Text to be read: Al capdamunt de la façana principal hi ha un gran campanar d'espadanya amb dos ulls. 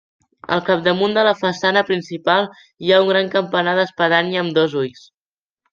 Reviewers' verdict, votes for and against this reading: accepted, 2, 0